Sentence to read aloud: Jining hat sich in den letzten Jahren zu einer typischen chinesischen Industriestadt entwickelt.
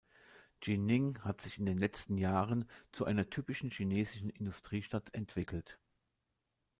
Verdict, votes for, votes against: accepted, 2, 0